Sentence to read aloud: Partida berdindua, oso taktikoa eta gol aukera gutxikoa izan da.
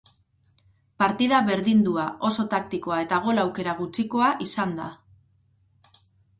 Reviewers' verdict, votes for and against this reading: accepted, 4, 0